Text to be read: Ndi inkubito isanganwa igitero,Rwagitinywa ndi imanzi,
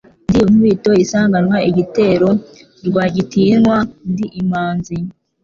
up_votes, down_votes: 3, 0